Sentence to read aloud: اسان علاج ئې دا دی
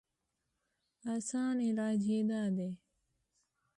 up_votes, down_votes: 2, 0